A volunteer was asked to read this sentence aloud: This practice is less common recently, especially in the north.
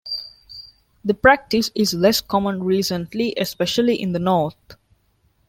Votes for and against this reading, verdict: 1, 2, rejected